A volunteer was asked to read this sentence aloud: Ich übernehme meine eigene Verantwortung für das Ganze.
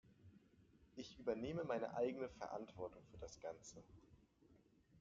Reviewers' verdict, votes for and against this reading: accepted, 2, 0